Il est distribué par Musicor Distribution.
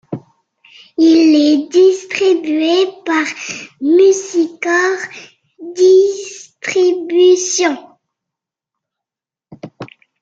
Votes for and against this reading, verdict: 2, 0, accepted